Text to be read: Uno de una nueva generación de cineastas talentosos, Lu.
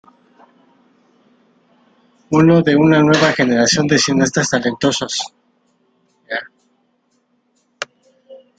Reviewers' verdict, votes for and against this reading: rejected, 0, 2